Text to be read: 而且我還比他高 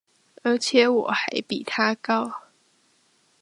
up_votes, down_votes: 2, 0